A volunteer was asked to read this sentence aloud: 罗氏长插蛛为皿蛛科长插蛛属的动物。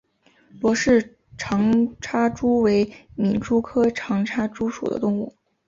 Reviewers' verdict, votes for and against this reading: accepted, 3, 0